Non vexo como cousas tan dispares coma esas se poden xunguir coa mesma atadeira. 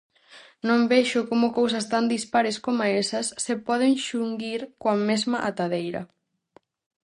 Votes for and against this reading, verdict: 4, 0, accepted